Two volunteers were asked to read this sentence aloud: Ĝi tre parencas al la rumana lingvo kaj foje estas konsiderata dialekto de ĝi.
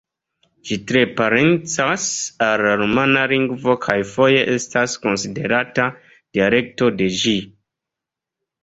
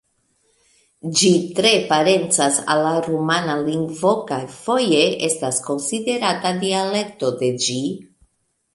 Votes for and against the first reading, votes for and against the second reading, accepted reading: 2, 0, 1, 2, first